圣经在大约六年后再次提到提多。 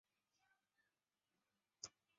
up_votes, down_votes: 0, 2